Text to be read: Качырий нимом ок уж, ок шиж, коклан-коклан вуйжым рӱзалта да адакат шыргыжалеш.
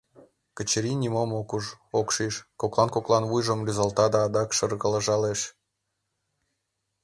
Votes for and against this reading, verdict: 1, 2, rejected